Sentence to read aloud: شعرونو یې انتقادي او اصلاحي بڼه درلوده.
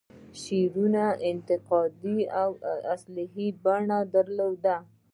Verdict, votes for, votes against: rejected, 1, 2